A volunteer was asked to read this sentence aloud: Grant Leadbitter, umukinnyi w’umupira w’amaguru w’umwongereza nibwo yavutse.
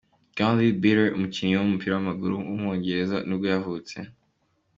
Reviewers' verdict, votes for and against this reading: accepted, 3, 0